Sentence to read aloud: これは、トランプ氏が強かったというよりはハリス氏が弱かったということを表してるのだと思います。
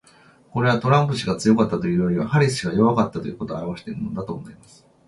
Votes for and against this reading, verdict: 2, 1, accepted